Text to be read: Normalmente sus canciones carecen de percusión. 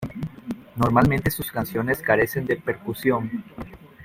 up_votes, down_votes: 2, 0